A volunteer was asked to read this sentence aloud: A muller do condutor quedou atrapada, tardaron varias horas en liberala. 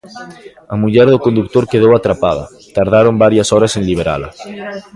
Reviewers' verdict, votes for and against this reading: rejected, 0, 2